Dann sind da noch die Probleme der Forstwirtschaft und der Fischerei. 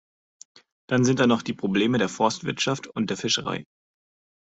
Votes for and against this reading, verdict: 2, 0, accepted